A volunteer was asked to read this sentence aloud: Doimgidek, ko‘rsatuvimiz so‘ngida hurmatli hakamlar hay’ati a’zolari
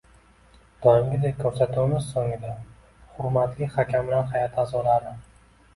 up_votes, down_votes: 2, 0